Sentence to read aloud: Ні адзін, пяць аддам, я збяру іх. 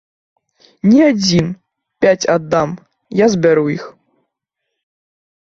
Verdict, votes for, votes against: accepted, 2, 0